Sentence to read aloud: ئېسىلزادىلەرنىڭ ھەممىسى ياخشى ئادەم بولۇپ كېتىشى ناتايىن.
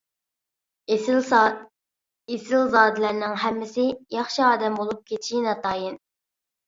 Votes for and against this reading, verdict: 0, 2, rejected